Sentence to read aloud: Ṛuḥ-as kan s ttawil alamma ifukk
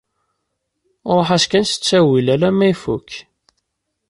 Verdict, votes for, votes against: accepted, 3, 0